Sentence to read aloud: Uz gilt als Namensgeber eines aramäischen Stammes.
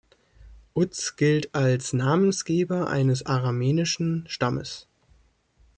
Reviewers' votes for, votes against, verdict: 0, 3, rejected